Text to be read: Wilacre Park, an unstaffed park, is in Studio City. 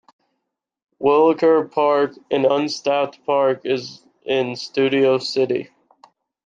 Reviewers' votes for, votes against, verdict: 2, 0, accepted